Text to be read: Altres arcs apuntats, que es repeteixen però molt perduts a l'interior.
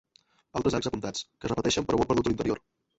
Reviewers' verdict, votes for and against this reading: rejected, 0, 2